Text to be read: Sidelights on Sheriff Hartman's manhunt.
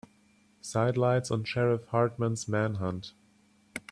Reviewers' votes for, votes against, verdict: 4, 0, accepted